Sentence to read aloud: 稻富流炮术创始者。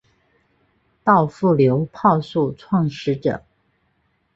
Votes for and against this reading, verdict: 2, 0, accepted